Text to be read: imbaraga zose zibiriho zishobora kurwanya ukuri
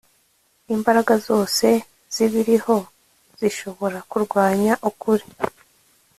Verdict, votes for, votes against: accepted, 2, 0